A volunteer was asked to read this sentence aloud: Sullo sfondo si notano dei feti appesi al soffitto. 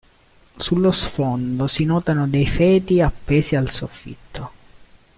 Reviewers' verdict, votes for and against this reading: accepted, 2, 0